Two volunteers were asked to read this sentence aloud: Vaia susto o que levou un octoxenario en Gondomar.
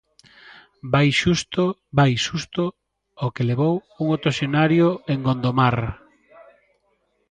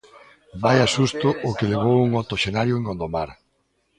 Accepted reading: second